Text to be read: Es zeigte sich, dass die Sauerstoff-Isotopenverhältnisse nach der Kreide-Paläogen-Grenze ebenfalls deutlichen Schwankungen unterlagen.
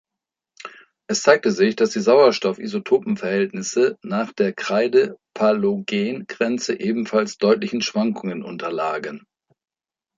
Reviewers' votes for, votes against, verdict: 1, 2, rejected